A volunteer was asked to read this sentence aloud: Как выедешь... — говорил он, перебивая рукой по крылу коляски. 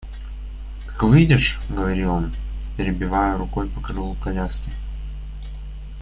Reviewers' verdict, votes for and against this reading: accepted, 2, 1